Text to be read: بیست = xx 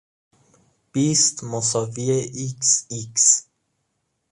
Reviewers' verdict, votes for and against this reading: accepted, 2, 0